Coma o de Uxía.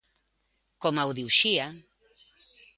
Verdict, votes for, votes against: accepted, 2, 0